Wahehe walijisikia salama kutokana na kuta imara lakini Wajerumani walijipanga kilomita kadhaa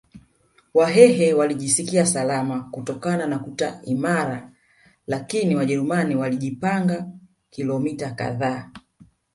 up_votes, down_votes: 1, 2